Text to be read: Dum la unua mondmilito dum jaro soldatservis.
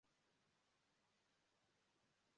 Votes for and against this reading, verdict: 0, 2, rejected